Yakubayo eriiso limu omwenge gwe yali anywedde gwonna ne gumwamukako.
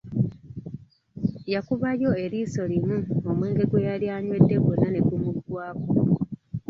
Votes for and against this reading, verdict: 0, 2, rejected